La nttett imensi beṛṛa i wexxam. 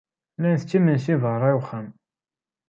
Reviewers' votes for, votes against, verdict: 2, 0, accepted